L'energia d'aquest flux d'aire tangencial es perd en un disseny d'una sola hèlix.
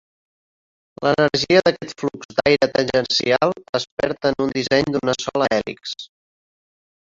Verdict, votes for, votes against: rejected, 1, 2